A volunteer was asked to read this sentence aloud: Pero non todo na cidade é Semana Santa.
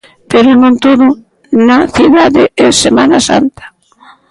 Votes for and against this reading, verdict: 2, 0, accepted